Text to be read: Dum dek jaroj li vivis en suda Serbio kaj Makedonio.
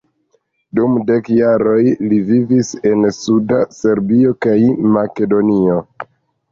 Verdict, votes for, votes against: rejected, 0, 2